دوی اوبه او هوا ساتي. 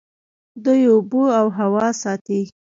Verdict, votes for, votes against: rejected, 1, 3